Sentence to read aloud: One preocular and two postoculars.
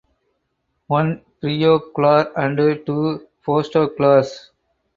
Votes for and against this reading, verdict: 2, 4, rejected